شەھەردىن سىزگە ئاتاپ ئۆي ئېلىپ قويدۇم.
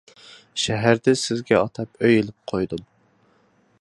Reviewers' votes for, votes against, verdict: 2, 1, accepted